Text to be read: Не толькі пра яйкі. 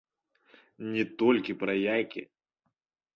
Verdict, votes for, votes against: accepted, 2, 1